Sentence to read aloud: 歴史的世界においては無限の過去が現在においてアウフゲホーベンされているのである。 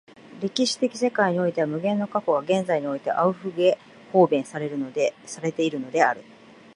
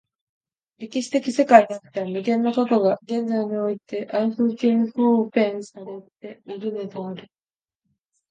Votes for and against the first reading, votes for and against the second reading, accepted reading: 3, 0, 3, 3, first